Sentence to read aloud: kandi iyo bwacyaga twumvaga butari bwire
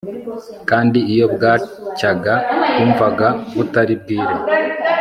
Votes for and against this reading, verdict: 2, 0, accepted